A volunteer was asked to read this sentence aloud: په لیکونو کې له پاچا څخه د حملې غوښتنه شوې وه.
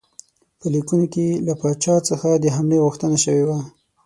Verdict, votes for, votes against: accepted, 6, 0